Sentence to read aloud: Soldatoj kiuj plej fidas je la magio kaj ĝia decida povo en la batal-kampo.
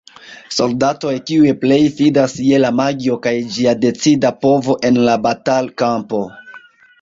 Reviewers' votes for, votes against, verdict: 1, 2, rejected